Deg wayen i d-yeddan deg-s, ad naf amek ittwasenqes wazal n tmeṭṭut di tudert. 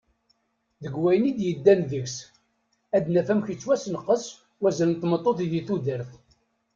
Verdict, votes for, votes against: accepted, 2, 1